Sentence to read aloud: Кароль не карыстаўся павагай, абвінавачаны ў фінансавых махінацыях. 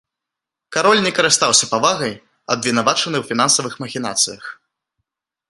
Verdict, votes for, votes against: accepted, 2, 0